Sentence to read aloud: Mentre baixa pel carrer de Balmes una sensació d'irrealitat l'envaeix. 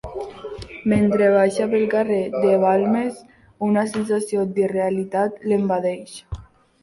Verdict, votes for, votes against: rejected, 1, 2